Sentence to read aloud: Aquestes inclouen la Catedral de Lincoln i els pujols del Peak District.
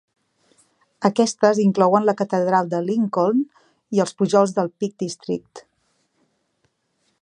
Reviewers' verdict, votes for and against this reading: accepted, 3, 0